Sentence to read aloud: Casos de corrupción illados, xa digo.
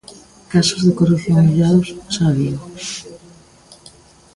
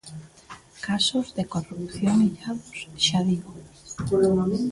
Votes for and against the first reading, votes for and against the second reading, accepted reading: 2, 0, 0, 2, first